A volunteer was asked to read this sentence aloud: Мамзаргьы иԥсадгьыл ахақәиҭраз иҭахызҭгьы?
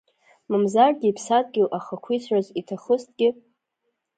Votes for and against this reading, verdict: 1, 2, rejected